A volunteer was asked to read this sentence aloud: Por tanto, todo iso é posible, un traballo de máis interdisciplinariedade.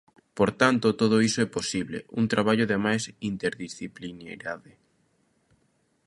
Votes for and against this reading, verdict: 0, 2, rejected